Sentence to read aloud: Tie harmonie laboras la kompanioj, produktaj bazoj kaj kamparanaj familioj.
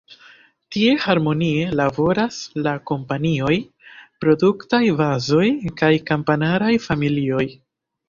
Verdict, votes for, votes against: rejected, 1, 3